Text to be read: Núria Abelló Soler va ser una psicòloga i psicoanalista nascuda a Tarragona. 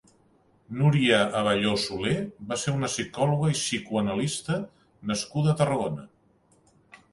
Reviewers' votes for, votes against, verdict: 2, 0, accepted